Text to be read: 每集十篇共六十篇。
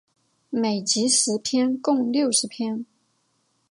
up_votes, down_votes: 9, 0